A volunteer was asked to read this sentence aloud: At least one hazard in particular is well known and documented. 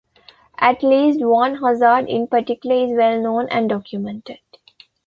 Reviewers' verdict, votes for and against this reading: rejected, 0, 2